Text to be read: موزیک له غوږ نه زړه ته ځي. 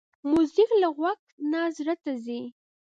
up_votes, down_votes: 2, 0